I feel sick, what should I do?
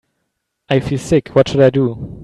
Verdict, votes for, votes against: accepted, 2, 0